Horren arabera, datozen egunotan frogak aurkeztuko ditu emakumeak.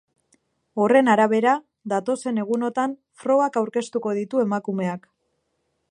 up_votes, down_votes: 2, 0